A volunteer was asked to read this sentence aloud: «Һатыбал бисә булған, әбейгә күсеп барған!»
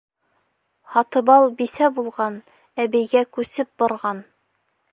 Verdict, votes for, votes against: accepted, 2, 0